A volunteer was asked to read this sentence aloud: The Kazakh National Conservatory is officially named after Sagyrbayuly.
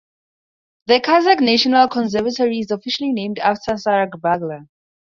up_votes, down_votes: 0, 2